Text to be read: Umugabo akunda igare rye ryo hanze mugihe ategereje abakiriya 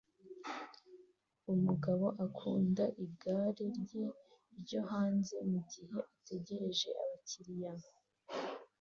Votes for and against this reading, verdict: 2, 0, accepted